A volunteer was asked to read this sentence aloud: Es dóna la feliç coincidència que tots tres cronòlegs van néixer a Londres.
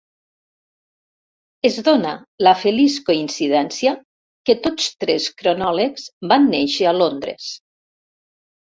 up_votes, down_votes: 0, 2